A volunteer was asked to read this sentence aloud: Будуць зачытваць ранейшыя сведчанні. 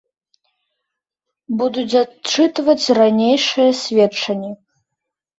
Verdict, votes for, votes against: rejected, 1, 2